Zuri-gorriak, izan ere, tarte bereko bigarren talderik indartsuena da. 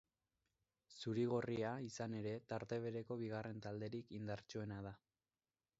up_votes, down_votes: 1, 2